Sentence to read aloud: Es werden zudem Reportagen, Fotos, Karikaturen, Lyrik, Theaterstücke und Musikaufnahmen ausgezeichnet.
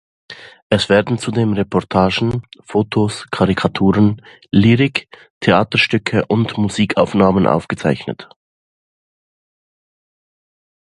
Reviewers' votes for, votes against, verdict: 0, 2, rejected